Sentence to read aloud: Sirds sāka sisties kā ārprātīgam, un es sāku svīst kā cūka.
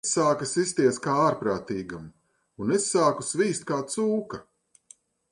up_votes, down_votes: 1, 2